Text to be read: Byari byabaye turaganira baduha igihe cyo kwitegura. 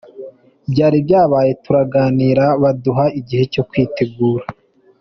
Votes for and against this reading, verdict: 2, 0, accepted